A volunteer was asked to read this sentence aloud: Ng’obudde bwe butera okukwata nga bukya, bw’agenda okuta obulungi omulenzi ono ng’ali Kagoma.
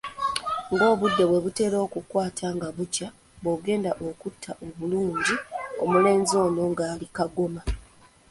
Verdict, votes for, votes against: rejected, 1, 2